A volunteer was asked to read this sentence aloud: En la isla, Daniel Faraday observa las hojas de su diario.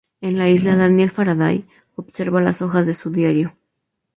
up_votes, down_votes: 2, 0